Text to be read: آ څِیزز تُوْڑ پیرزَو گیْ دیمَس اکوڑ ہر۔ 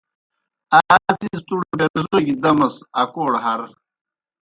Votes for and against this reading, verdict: 0, 2, rejected